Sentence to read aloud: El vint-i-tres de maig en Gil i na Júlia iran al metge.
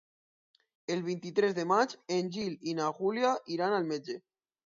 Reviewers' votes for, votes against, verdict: 2, 2, rejected